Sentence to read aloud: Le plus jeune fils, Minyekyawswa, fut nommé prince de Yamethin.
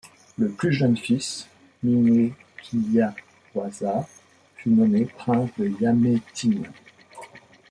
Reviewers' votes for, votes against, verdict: 1, 2, rejected